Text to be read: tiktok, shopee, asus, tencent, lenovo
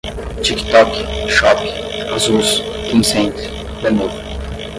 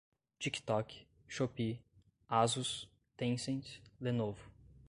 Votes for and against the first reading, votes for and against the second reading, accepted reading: 0, 5, 2, 0, second